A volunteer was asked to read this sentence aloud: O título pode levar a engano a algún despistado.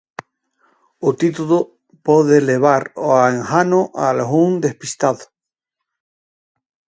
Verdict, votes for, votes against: accepted, 4, 2